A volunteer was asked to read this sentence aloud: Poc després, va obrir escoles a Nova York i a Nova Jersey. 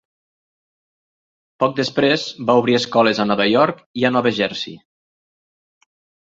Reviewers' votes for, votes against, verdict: 3, 0, accepted